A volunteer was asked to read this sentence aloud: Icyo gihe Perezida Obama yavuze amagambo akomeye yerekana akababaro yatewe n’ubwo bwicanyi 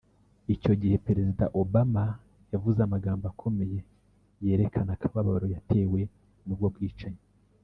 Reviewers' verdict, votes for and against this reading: rejected, 0, 2